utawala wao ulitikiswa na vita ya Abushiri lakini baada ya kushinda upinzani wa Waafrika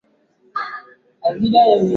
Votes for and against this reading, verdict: 2, 11, rejected